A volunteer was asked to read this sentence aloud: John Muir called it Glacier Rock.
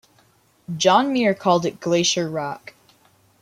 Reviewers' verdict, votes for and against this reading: accepted, 2, 0